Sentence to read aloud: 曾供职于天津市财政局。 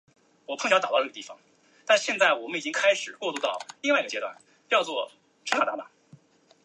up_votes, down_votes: 2, 7